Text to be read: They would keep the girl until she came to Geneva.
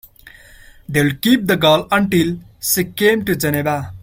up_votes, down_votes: 1, 2